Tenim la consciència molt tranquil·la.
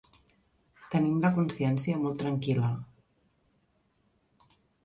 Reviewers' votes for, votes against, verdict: 6, 0, accepted